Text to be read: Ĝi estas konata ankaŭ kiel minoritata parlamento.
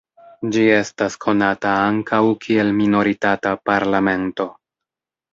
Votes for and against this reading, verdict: 2, 1, accepted